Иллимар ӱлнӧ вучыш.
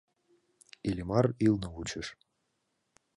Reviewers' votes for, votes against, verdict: 2, 0, accepted